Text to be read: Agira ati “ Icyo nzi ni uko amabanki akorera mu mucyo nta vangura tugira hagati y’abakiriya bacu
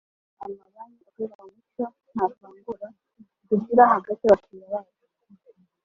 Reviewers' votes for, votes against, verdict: 0, 2, rejected